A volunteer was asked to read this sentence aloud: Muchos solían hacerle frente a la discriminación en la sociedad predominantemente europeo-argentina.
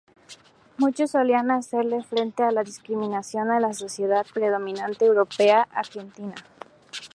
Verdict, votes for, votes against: rejected, 0, 2